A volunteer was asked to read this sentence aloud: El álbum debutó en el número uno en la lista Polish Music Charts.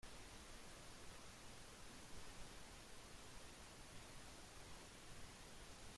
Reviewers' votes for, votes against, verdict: 0, 2, rejected